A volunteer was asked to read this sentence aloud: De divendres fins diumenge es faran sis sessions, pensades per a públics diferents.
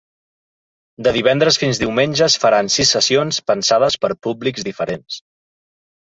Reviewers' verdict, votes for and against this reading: rejected, 1, 2